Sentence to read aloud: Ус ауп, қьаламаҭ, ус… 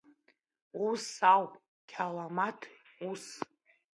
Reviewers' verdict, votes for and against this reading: accepted, 2, 1